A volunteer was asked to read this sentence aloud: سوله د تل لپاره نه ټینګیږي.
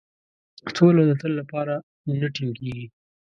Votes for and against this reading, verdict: 0, 2, rejected